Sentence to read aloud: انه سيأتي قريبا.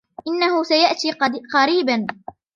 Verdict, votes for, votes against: rejected, 1, 2